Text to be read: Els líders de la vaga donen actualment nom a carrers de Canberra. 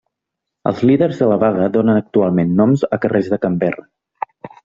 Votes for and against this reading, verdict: 1, 2, rejected